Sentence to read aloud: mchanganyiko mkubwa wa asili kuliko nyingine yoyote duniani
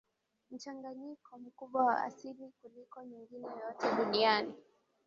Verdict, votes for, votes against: accepted, 2, 1